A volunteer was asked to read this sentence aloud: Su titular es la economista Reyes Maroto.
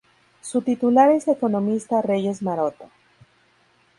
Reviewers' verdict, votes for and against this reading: rejected, 0, 2